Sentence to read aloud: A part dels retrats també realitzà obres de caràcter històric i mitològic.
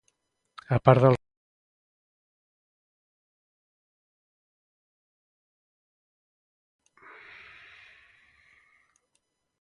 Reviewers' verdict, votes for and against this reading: rejected, 0, 2